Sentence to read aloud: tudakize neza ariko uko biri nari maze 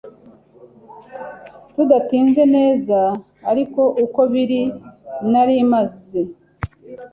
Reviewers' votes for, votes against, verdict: 1, 2, rejected